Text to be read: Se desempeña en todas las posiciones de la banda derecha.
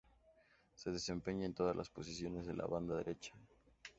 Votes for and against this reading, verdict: 2, 0, accepted